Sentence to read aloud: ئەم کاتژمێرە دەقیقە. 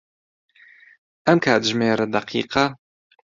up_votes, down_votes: 2, 0